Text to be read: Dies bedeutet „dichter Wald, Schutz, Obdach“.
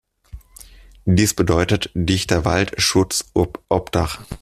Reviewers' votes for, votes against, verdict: 0, 2, rejected